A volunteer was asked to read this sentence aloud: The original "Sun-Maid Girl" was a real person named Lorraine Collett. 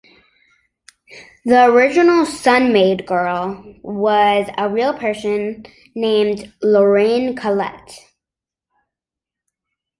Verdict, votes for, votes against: accepted, 3, 0